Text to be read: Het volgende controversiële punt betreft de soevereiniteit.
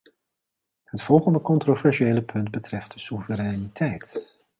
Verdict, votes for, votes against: rejected, 1, 2